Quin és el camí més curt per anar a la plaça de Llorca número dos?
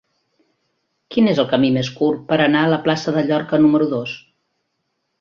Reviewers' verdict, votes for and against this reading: accepted, 2, 0